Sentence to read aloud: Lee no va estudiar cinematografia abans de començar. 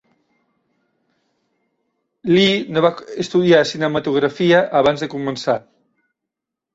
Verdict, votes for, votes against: rejected, 0, 2